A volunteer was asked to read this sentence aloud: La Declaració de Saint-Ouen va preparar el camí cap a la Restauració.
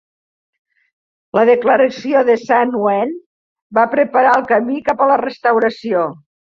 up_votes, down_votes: 2, 0